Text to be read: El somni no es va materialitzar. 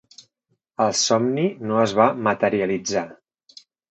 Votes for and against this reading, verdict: 0, 2, rejected